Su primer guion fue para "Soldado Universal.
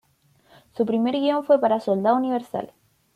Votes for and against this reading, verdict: 2, 0, accepted